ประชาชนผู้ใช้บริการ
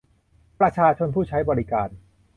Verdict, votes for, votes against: accepted, 2, 0